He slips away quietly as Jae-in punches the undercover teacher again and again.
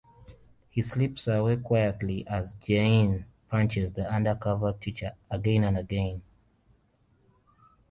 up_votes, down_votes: 2, 0